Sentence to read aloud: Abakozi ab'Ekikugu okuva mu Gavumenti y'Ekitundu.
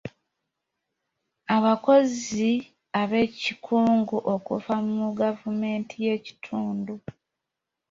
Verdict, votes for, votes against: rejected, 1, 2